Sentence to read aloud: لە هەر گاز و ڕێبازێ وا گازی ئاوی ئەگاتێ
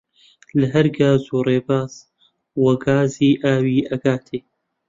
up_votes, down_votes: 0, 2